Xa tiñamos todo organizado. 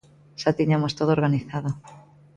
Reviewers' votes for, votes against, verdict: 2, 0, accepted